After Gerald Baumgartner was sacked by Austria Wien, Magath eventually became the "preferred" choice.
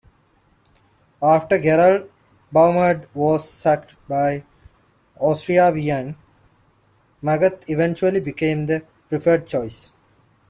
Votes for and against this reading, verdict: 1, 2, rejected